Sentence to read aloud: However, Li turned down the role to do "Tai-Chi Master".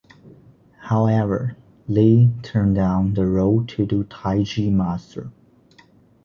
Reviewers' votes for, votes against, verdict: 2, 0, accepted